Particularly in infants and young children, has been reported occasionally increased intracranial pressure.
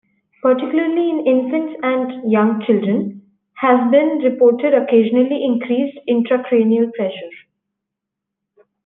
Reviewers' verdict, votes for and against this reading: rejected, 1, 2